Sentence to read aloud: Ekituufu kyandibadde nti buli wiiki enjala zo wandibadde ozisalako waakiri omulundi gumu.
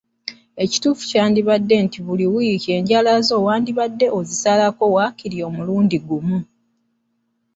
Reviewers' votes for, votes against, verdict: 2, 0, accepted